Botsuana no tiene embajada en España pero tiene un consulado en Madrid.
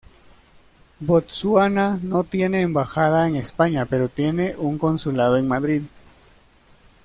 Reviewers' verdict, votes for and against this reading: accepted, 2, 0